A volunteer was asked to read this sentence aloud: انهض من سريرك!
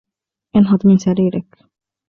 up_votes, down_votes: 2, 0